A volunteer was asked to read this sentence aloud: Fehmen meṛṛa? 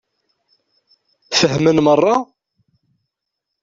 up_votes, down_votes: 2, 0